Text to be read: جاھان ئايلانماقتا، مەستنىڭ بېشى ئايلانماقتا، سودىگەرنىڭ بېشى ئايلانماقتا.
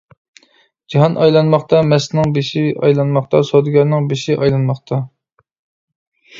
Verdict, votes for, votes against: accepted, 2, 0